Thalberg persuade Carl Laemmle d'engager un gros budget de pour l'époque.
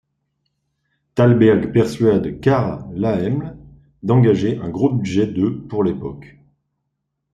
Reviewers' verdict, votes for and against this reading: accepted, 2, 0